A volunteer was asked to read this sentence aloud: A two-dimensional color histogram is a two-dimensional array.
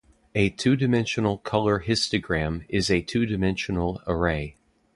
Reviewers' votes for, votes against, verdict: 2, 0, accepted